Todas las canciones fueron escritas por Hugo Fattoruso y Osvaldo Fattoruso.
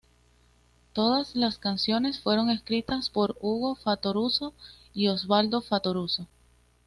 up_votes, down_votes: 2, 0